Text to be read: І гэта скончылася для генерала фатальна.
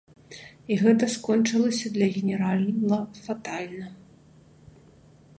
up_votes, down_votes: 0, 2